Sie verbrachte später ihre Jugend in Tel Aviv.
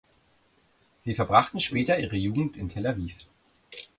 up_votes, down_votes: 1, 2